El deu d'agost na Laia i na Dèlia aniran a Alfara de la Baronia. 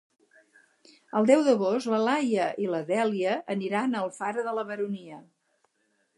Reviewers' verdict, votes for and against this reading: rejected, 0, 4